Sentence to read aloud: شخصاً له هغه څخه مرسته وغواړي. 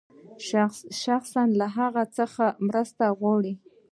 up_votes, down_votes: 0, 2